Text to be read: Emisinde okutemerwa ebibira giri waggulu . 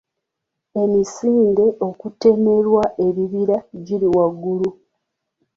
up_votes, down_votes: 3, 0